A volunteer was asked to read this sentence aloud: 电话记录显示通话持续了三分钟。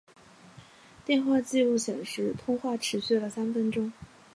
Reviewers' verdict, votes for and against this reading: accepted, 2, 0